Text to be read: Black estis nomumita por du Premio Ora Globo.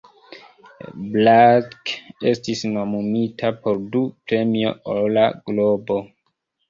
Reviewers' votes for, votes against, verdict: 1, 2, rejected